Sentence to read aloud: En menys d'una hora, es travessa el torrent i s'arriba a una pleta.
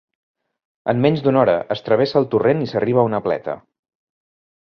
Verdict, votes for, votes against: accepted, 3, 0